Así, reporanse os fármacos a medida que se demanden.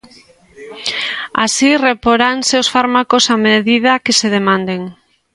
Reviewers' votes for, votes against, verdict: 2, 0, accepted